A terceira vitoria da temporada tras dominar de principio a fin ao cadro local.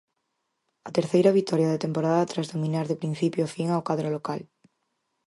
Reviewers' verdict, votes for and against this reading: accepted, 4, 0